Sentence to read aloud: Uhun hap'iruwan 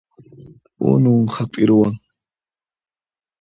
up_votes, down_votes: 1, 2